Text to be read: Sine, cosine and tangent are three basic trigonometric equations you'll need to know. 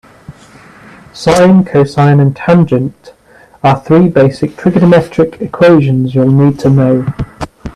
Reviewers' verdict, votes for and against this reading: accepted, 2, 0